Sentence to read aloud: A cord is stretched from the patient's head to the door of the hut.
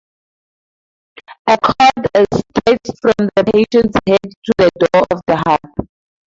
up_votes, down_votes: 0, 4